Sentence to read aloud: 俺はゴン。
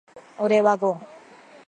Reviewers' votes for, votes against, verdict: 2, 0, accepted